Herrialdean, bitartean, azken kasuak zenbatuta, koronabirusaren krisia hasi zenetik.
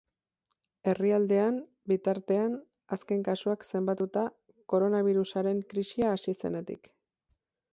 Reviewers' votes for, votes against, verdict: 4, 0, accepted